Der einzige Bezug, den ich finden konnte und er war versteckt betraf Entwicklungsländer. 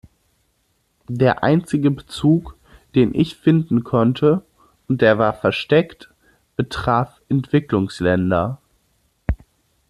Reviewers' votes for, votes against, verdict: 1, 3, rejected